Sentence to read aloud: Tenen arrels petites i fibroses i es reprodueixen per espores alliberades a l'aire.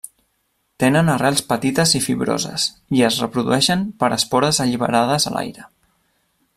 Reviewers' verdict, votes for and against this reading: accepted, 3, 0